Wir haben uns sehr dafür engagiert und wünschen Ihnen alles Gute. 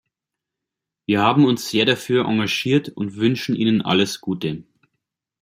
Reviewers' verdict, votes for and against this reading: accepted, 2, 0